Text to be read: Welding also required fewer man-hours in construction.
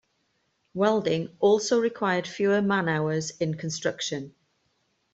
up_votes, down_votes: 2, 0